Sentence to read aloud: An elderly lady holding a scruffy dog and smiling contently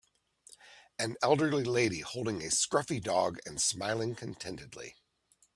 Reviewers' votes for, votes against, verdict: 0, 2, rejected